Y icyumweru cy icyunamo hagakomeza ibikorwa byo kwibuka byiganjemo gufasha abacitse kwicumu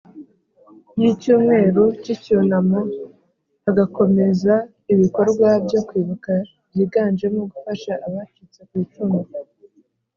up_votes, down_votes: 2, 0